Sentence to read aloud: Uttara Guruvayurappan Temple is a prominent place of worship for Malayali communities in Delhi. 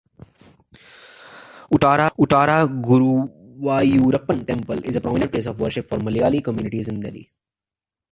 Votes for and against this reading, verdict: 0, 2, rejected